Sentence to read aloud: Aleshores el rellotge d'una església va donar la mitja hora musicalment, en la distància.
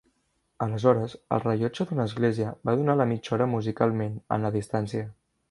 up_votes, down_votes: 3, 0